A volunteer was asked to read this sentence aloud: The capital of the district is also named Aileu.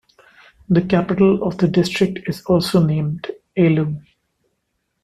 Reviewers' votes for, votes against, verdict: 2, 0, accepted